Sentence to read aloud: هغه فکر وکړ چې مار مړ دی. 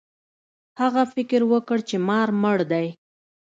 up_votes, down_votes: 2, 0